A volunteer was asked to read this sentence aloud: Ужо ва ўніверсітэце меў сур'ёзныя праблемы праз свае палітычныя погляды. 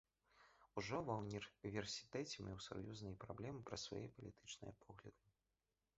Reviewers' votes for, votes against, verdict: 0, 3, rejected